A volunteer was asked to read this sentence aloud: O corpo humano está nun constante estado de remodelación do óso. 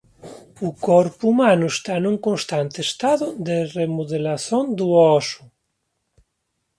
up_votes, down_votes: 0, 3